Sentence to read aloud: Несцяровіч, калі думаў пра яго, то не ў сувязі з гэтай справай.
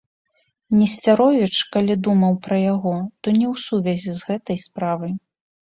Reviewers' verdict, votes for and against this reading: accepted, 2, 1